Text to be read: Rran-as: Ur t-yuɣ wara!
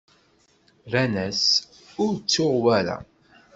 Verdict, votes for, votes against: rejected, 1, 2